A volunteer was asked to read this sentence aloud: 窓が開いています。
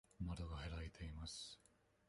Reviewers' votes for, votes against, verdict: 1, 2, rejected